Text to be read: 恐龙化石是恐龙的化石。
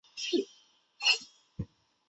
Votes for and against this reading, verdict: 1, 4, rejected